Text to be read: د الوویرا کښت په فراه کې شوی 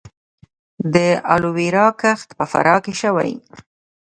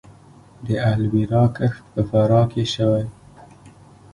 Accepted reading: second